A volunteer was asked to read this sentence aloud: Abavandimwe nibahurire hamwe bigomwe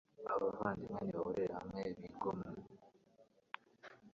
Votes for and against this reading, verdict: 0, 2, rejected